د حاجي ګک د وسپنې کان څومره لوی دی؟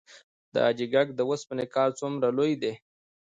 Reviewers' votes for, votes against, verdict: 2, 0, accepted